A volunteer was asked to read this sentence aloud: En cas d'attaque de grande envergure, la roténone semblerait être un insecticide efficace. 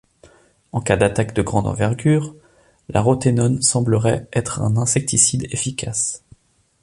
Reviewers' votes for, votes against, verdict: 3, 0, accepted